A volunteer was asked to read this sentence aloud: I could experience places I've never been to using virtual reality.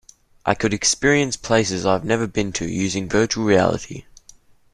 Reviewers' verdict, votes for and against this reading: accepted, 2, 0